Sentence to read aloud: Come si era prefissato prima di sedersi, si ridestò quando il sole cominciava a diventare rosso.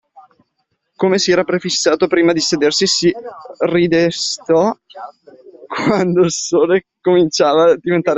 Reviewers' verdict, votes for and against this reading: rejected, 0, 2